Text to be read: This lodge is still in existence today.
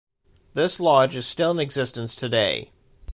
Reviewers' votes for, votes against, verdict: 2, 0, accepted